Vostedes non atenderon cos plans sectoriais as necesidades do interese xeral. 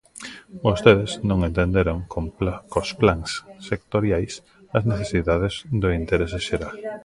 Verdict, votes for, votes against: rejected, 0, 2